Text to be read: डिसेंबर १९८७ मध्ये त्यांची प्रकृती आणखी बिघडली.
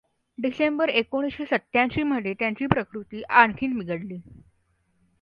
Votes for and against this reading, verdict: 0, 2, rejected